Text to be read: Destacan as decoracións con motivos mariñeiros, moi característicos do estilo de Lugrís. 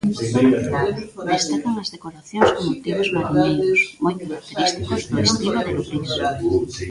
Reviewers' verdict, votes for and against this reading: rejected, 0, 2